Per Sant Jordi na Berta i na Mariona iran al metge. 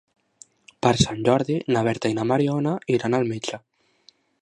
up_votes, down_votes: 3, 0